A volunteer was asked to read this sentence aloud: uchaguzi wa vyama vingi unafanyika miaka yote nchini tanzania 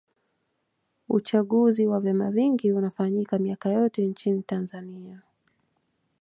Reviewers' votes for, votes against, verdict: 2, 0, accepted